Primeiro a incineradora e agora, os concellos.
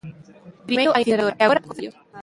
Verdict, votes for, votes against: rejected, 0, 2